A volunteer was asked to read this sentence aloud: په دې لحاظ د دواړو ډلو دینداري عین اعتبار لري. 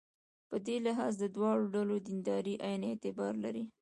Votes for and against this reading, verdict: 0, 2, rejected